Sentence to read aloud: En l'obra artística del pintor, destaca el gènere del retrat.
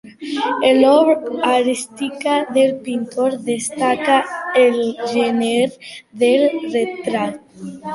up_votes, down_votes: 0, 2